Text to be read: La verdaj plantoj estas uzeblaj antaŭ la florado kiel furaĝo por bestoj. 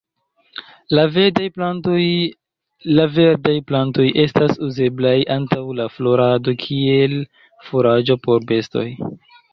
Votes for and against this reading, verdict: 1, 2, rejected